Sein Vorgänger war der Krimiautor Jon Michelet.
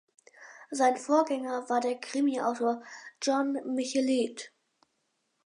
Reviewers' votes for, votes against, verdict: 4, 0, accepted